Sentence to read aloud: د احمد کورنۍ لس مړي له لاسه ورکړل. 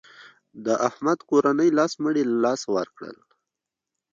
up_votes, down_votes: 1, 2